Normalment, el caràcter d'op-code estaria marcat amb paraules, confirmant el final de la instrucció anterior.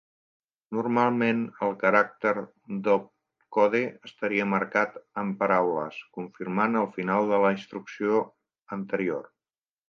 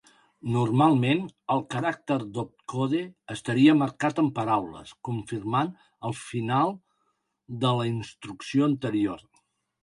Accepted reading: second